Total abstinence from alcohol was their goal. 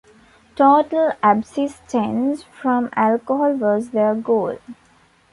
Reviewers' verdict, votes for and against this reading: rejected, 1, 2